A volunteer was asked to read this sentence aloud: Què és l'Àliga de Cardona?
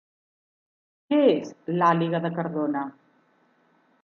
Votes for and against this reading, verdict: 4, 0, accepted